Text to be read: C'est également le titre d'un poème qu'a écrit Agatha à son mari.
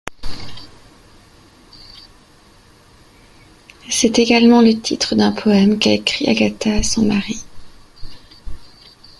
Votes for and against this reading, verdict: 2, 0, accepted